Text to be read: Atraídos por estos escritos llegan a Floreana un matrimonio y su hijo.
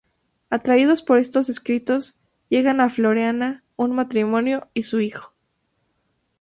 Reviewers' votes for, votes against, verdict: 2, 0, accepted